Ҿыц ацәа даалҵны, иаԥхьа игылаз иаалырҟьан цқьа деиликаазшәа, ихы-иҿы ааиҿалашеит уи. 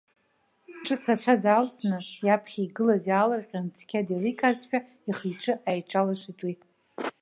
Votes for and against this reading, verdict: 0, 2, rejected